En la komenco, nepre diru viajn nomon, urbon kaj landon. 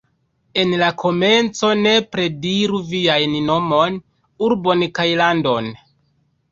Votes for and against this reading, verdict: 0, 2, rejected